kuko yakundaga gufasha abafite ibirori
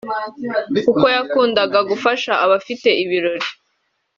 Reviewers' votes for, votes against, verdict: 3, 0, accepted